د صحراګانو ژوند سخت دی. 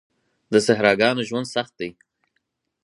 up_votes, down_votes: 4, 0